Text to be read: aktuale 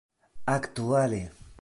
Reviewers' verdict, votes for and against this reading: accepted, 2, 1